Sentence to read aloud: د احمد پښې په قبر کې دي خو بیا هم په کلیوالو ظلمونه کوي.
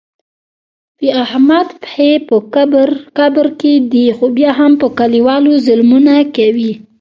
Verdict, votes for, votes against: rejected, 1, 2